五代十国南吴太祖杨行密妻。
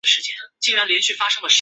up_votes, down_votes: 0, 2